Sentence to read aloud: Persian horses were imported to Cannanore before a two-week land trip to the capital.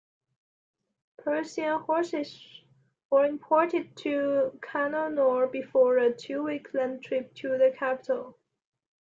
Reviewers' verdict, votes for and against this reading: accepted, 2, 0